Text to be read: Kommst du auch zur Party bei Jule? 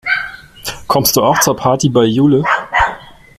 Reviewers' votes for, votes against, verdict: 3, 1, accepted